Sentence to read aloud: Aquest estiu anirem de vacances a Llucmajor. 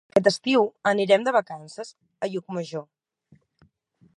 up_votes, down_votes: 2, 4